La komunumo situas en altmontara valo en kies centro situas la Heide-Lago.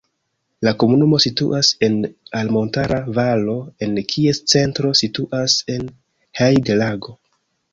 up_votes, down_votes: 2, 0